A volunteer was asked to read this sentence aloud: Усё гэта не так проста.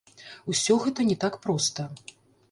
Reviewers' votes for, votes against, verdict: 0, 3, rejected